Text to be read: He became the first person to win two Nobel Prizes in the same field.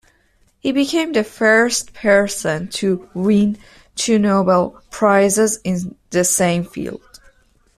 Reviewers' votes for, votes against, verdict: 1, 2, rejected